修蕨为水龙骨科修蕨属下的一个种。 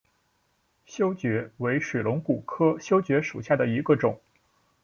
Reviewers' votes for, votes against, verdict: 2, 0, accepted